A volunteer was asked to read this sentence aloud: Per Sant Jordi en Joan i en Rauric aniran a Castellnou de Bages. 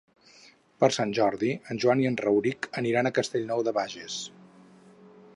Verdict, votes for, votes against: accepted, 4, 0